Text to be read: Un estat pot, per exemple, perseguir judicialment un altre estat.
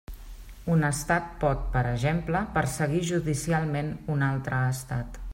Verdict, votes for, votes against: rejected, 1, 2